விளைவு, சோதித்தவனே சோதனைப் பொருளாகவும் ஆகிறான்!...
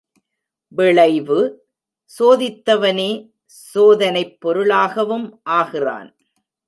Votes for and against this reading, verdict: 0, 2, rejected